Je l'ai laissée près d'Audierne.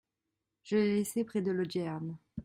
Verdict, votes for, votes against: rejected, 1, 2